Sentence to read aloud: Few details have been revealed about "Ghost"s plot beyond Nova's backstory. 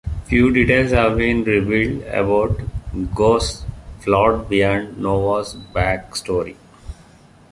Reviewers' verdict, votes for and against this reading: rejected, 0, 2